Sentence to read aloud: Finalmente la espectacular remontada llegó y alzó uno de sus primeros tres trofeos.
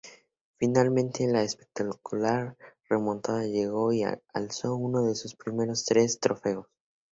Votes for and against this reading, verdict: 2, 0, accepted